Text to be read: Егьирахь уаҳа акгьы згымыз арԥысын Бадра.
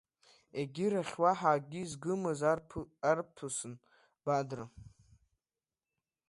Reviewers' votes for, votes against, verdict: 1, 2, rejected